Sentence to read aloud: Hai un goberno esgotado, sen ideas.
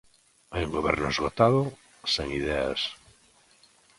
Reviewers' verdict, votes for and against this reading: accepted, 2, 0